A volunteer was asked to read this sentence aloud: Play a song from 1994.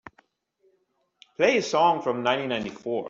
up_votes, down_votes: 0, 2